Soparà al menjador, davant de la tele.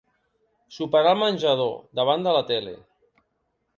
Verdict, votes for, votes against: accepted, 3, 0